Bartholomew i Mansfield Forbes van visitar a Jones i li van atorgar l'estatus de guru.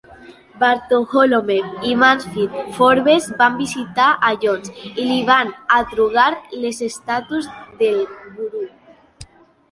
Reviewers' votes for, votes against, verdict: 0, 2, rejected